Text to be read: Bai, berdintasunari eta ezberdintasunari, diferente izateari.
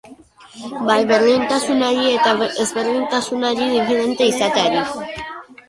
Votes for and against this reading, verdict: 1, 2, rejected